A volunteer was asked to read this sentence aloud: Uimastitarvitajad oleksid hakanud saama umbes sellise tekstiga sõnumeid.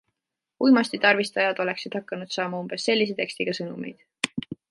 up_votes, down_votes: 1, 2